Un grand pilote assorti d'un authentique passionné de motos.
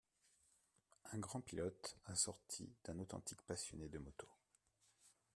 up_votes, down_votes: 2, 0